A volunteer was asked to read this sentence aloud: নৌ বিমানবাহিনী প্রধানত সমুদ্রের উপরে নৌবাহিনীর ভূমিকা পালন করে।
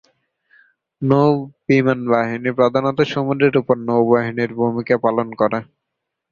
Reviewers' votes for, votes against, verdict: 1, 2, rejected